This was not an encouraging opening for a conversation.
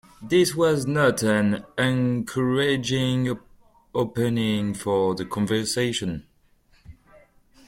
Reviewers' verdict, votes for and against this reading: rejected, 1, 2